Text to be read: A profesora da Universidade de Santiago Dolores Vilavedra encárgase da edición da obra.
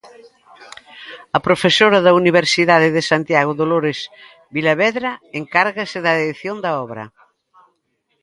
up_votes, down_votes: 1, 2